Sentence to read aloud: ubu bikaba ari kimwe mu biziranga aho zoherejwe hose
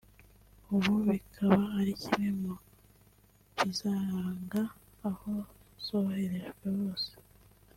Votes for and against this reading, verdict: 0, 2, rejected